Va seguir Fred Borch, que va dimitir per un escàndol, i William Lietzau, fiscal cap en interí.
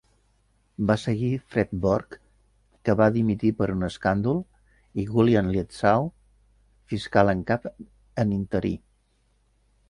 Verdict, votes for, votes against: rejected, 0, 2